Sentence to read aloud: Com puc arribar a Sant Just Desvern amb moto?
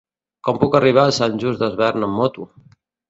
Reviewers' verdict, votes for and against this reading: accepted, 2, 0